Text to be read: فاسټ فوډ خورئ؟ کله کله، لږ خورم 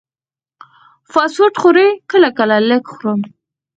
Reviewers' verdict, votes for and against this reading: rejected, 0, 4